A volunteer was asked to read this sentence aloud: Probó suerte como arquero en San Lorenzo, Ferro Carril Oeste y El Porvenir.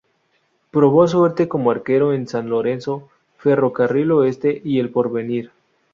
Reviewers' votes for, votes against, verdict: 2, 0, accepted